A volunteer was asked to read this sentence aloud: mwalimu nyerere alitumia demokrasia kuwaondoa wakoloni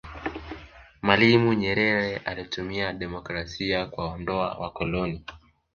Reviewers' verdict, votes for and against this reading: accepted, 3, 2